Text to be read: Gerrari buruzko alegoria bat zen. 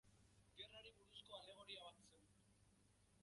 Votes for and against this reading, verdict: 0, 3, rejected